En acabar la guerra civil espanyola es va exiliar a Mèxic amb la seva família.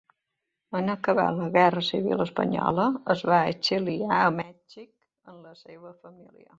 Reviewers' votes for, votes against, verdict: 1, 3, rejected